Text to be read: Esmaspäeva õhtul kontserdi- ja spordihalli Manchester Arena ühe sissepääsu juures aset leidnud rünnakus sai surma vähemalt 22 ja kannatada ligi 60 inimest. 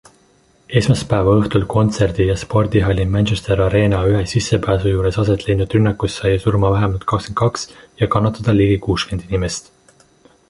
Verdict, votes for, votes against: rejected, 0, 2